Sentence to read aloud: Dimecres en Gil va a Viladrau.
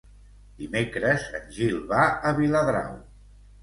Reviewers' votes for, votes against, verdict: 2, 0, accepted